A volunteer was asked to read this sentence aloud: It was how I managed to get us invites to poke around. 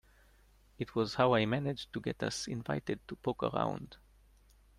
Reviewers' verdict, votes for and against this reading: rejected, 1, 2